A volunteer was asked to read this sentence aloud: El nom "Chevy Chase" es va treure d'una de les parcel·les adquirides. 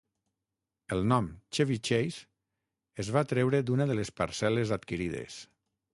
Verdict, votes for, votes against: accepted, 6, 0